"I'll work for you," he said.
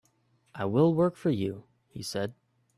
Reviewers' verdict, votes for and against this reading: rejected, 1, 2